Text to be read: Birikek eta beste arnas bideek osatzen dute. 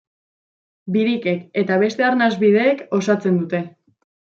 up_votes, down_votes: 2, 0